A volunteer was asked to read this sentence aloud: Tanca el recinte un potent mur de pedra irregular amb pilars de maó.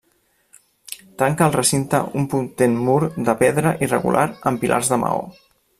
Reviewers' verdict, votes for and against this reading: rejected, 0, 2